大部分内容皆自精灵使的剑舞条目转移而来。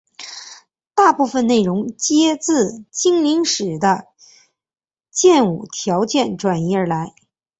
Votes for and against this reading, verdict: 0, 2, rejected